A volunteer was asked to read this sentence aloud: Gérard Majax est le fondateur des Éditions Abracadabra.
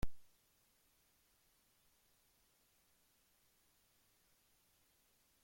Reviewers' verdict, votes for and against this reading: rejected, 0, 2